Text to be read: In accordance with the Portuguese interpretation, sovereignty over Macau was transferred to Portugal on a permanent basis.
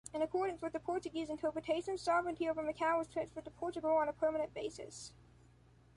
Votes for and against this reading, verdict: 2, 0, accepted